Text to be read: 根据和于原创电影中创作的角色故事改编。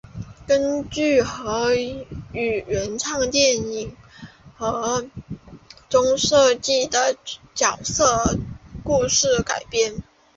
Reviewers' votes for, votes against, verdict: 0, 2, rejected